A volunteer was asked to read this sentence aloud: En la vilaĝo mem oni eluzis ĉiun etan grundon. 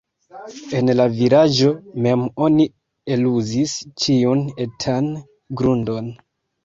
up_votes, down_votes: 0, 2